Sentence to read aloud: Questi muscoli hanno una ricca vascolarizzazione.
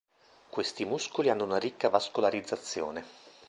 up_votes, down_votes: 2, 0